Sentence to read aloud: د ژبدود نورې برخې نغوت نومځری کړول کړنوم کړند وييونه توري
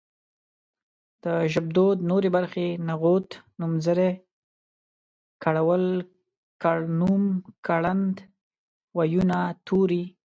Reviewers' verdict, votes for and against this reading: accepted, 2, 0